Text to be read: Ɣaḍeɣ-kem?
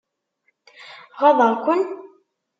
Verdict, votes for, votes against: rejected, 1, 2